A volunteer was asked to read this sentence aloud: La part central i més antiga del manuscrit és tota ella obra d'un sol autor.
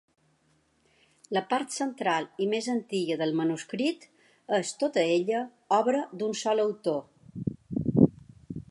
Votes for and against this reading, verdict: 2, 0, accepted